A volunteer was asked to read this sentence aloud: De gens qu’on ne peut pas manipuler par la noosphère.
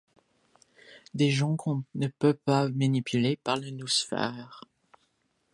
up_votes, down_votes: 2, 0